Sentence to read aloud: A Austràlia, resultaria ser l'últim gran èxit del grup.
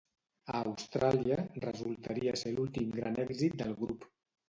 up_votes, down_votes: 2, 0